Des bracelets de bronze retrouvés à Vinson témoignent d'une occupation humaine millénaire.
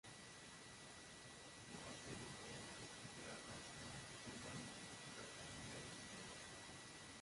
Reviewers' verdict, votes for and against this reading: rejected, 0, 2